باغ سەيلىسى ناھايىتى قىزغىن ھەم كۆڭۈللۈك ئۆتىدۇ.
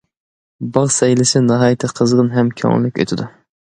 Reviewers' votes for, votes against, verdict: 2, 0, accepted